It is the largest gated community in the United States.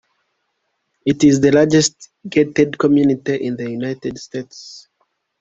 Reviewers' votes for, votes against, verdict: 2, 0, accepted